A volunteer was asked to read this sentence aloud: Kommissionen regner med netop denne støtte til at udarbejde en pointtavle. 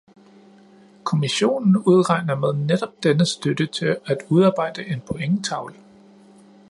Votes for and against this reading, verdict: 1, 3, rejected